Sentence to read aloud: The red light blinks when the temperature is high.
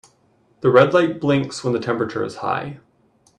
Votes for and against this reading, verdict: 2, 0, accepted